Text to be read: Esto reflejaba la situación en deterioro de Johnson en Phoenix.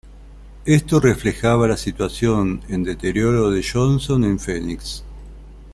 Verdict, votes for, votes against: accepted, 2, 0